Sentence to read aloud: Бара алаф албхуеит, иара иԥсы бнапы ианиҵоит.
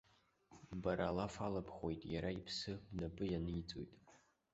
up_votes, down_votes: 2, 0